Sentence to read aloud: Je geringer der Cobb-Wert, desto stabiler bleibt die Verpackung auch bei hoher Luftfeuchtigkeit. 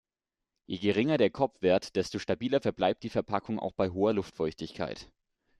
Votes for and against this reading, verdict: 1, 2, rejected